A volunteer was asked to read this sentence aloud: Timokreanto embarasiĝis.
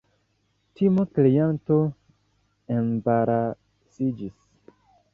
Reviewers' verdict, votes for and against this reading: accepted, 2, 0